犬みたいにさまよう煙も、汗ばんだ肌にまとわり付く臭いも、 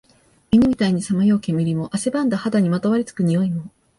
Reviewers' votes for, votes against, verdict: 2, 0, accepted